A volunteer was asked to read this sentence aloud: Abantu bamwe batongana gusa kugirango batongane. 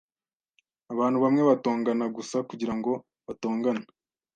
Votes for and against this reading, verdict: 2, 0, accepted